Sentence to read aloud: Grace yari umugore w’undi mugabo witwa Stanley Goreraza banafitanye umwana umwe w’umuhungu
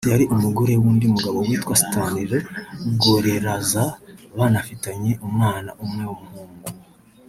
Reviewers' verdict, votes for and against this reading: rejected, 1, 2